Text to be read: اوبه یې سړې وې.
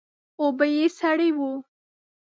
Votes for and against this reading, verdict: 0, 2, rejected